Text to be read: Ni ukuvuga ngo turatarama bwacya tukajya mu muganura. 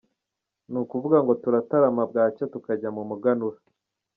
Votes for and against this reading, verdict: 2, 0, accepted